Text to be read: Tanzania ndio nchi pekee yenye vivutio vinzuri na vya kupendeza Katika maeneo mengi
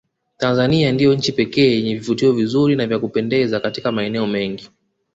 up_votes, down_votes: 2, 0